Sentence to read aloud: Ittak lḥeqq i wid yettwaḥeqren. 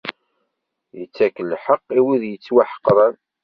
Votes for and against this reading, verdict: 3, 0, accepted